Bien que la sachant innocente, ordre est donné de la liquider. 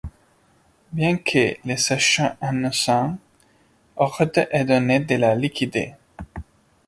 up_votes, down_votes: 1, 2